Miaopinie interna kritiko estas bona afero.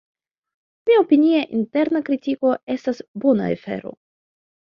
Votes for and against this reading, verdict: 0, 2, rejected